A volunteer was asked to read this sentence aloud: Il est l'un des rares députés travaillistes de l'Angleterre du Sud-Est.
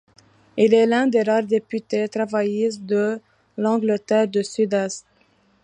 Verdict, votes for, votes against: accepted, 2, 1